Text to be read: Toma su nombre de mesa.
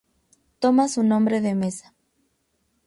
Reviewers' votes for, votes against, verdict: 0, 2, rejected